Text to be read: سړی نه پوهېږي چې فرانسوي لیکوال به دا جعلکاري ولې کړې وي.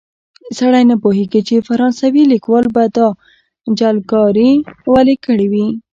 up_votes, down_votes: 1, 2